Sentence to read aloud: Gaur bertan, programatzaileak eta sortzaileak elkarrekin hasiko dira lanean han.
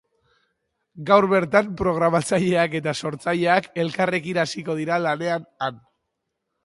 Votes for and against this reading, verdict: 6, 0, accepted